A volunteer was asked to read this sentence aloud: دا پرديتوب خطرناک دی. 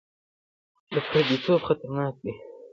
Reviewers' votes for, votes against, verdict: 1, 2, rejected